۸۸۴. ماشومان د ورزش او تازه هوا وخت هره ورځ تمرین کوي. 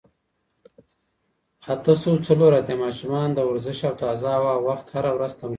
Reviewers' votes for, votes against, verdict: 0, 2, rejected